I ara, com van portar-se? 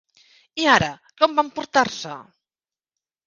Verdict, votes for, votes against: accepted, 3, 1